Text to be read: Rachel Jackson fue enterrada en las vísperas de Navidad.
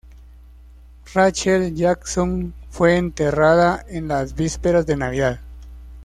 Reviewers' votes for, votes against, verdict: 2, 0, accepted